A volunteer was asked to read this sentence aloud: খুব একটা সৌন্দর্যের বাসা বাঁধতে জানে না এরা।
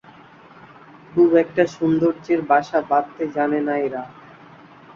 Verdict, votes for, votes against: accepted, 2, 1